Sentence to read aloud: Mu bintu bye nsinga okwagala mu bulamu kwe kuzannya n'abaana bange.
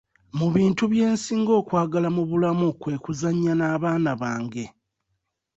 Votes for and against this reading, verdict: 2, 0, accepted